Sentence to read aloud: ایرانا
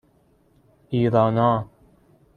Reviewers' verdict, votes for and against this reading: accepted, 2, 0